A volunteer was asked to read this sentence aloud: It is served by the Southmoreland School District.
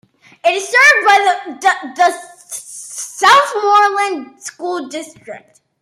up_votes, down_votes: 0, 2